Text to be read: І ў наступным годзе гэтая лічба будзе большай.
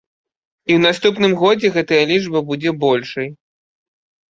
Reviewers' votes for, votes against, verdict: 2, 0, accepted